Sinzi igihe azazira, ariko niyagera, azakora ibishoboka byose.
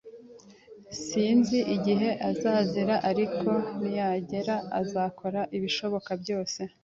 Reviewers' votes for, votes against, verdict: 2, 0, accepted